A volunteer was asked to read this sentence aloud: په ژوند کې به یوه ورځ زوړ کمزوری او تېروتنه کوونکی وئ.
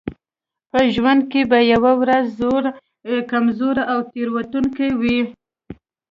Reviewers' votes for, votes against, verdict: 1, 2, rejected